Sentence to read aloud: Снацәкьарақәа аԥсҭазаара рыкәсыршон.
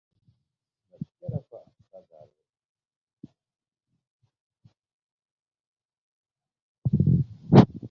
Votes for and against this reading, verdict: 0, 2, rejected